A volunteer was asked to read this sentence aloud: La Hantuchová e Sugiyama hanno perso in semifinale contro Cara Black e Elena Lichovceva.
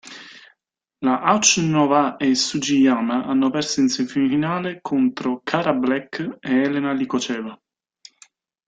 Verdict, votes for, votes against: rejected, 0, 2